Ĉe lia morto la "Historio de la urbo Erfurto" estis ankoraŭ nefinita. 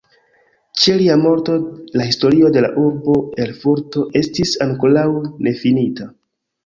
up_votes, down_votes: 1, 2